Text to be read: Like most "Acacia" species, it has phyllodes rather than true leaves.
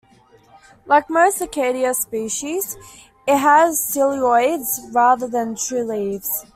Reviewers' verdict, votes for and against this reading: rejected, 1, 2